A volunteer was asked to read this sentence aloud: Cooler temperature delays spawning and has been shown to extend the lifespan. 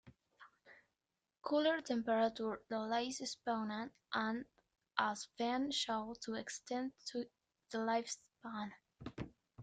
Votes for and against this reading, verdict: 2, 0, accepted